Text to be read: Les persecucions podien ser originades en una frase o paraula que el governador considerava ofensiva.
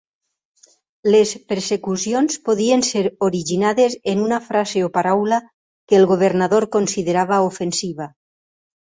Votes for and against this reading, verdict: 6, 2, accepted